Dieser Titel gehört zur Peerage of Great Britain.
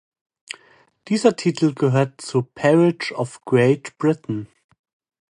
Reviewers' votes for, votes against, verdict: 2, 0, accepted